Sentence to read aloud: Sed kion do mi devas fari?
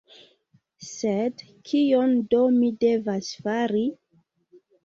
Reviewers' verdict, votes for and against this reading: accepted, 2, 0